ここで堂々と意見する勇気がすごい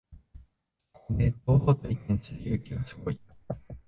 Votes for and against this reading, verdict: 0, 2, rejected